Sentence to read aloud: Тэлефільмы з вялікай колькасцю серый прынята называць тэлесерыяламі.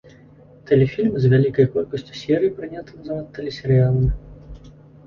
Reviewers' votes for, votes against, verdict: 1, 2, rejected